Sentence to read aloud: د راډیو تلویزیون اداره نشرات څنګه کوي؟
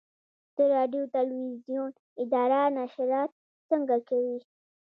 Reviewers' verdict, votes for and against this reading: accepted, 2, 0